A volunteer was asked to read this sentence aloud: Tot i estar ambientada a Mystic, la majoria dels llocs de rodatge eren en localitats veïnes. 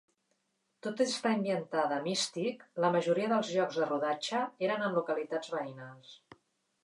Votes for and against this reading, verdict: 1, 2, rejected